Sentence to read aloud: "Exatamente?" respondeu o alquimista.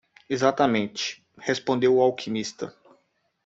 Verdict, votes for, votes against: accepted, 2, 0